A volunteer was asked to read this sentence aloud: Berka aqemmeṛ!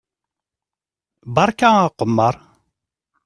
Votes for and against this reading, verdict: 3, 0, accepted